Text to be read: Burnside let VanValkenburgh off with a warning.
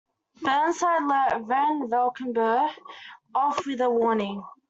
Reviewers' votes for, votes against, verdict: 2, 0, accepted